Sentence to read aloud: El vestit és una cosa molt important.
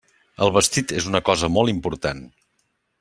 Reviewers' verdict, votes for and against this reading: accepted, 3, 0